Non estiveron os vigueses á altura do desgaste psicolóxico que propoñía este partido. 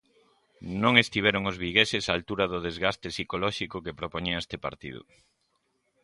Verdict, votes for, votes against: accepted, 2, 0